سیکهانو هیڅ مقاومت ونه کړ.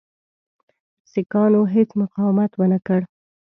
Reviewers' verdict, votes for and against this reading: accepted, 2, 0